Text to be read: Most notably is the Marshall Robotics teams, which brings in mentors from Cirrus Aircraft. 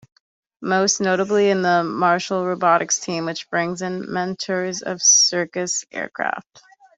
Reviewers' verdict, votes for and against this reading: rejected, 0, 2